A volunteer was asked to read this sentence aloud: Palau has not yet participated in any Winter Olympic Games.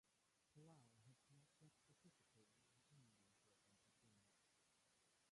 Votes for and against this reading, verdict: 0, 2, rejected